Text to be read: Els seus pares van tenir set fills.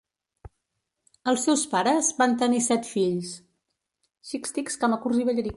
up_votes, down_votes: 0, 2